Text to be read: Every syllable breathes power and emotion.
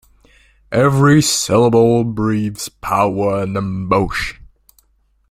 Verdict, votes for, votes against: accepted, 2, 0